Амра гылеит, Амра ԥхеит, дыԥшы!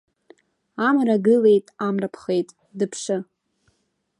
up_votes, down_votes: 1, 2